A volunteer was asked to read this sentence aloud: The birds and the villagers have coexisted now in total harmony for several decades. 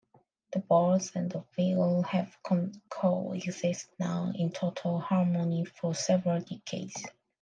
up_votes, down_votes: 0, 2